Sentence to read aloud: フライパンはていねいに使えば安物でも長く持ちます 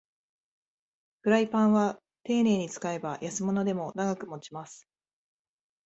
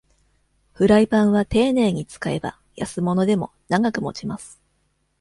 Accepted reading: first